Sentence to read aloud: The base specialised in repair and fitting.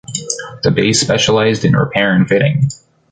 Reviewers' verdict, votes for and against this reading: accepted, 3, 0